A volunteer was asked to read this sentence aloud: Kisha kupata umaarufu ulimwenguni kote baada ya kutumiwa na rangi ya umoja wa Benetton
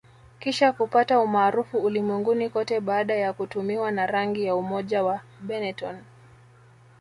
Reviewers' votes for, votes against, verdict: 2, 1, accepted